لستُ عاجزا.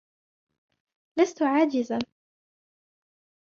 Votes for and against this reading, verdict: 2, 0, accepted